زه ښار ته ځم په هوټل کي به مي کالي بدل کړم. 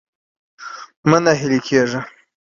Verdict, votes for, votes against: accepted, 2, 1